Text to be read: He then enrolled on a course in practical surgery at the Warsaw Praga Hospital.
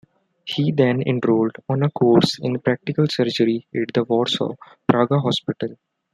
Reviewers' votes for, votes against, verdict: 2, 1, accepted